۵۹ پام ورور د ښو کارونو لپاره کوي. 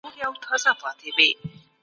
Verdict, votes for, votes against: rejected, 0, 2